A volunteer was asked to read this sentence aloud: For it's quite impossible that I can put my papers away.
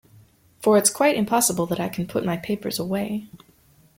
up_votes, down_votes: 2, 0